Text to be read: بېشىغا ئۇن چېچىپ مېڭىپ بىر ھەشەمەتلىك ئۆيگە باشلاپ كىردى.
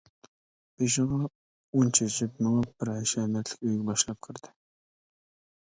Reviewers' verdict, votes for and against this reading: accepted, 2, 1